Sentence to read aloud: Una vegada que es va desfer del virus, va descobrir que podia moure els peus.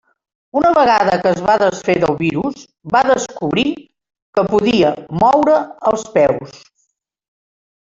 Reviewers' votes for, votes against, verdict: 3, 1, accepted